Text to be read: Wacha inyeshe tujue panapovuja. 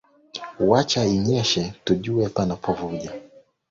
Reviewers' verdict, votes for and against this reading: accepted, 2, 0